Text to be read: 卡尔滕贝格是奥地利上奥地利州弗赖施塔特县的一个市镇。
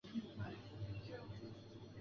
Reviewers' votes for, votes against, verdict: 0, 2, rejected